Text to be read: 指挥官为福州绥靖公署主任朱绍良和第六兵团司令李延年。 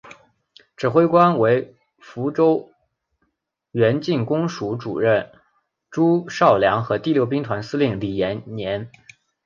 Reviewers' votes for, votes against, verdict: 1, 2, rejected